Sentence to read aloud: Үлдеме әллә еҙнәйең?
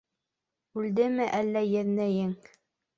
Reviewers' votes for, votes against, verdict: 2, 0, accepted